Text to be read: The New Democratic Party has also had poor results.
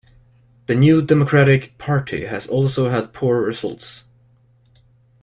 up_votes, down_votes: 2, 0